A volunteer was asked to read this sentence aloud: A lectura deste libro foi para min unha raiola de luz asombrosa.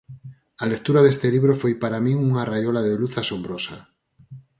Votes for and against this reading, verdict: 4, 0, accepted